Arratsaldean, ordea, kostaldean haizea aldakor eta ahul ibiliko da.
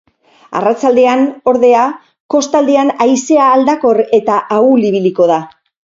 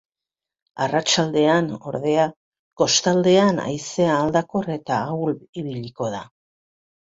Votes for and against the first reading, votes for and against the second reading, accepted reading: 2, 2, 2, 0, second